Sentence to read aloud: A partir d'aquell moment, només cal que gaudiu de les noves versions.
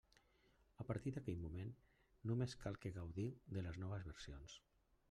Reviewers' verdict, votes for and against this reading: rejected, 1, 2